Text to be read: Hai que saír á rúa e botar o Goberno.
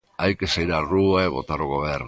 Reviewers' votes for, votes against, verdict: 1, 2, rejected